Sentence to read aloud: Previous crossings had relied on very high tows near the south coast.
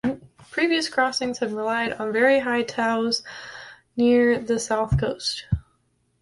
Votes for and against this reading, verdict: 0, 2, rejected